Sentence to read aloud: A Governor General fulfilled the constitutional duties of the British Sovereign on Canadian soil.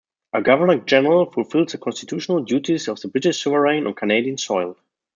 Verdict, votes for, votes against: rejected, 0, 2